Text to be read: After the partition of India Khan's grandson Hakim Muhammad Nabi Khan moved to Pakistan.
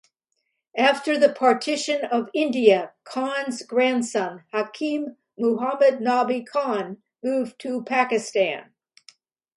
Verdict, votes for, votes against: accepted, 2, 0